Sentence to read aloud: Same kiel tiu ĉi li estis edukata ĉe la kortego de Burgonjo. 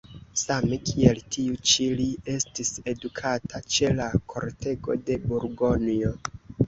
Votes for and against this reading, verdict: 2, 1, accepted